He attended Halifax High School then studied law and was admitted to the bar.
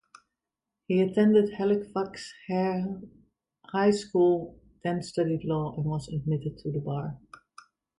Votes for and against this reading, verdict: 0, 2, rejected